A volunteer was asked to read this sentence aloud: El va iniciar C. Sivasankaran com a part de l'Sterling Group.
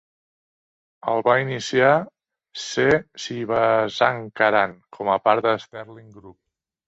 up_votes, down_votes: 2, 3